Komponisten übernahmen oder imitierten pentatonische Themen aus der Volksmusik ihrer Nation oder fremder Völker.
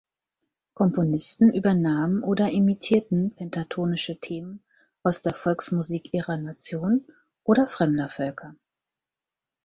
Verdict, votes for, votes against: accepted, 4, 0